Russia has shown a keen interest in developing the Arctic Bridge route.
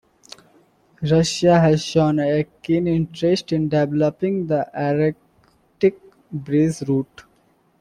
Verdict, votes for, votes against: accepted, 2, 0